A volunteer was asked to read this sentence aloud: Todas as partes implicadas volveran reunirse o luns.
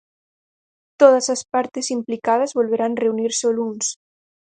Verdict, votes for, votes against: rejected, 2, 4